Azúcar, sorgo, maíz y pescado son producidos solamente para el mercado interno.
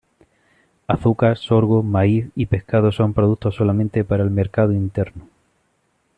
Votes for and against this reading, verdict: 1, 2, rejected